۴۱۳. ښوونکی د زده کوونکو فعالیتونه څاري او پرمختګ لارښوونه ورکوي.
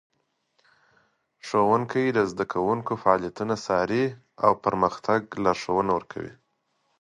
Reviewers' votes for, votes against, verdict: 0, 2, rejected